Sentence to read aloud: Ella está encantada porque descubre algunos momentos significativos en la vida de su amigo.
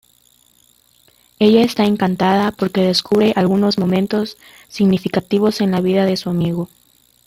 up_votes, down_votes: 2, 0